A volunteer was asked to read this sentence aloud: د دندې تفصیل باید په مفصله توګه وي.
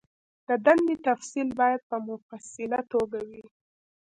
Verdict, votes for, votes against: accepted, 2, 0